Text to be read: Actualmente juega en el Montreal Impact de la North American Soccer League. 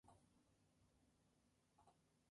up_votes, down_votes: 0, 2